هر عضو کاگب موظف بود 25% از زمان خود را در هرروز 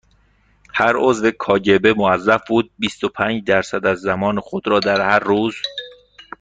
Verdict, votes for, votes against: rejected, 0, 2